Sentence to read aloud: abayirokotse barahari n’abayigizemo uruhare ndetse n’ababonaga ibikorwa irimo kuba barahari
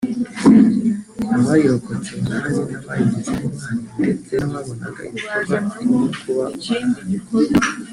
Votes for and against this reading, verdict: 1, 2, rejected